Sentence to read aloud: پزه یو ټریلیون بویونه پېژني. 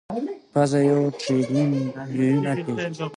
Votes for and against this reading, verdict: 2, 1, accepted